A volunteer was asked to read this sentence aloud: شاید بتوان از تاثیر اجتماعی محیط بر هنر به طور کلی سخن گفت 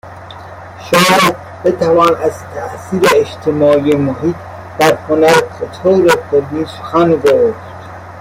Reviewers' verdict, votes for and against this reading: rejected, 0, 2